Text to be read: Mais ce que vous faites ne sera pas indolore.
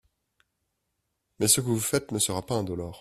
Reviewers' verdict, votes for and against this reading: rejected, 1, 2